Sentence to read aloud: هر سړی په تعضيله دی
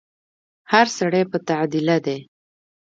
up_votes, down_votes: 0, 2